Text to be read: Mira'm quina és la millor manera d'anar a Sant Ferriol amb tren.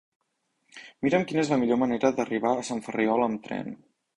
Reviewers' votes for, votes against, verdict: 0, 2, rejected